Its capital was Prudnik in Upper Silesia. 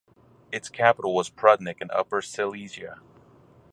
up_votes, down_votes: 4, 0